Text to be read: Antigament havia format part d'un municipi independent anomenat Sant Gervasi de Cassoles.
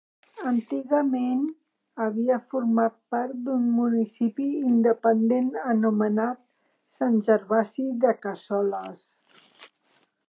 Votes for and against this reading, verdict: 3, 0, accepted